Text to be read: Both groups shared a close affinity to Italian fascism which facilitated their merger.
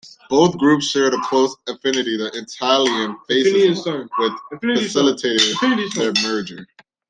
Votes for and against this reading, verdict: 0, 2, rejected